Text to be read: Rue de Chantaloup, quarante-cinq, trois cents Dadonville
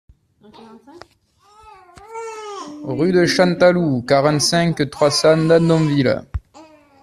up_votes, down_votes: 2, 1